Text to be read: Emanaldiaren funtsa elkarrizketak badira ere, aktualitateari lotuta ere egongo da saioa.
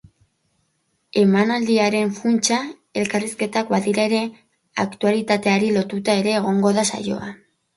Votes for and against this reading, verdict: 3, 0, accepted